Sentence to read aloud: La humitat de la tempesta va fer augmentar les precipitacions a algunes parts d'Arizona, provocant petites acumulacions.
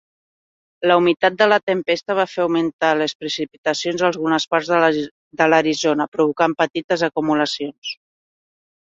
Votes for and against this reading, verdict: 0, 2, rejected